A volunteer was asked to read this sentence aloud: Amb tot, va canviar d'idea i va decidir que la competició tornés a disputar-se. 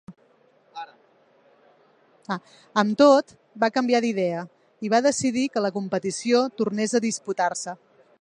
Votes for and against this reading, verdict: 1, 2, rejected